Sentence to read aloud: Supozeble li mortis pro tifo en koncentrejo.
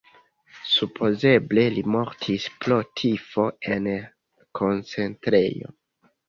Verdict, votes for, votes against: accepted, 2, 0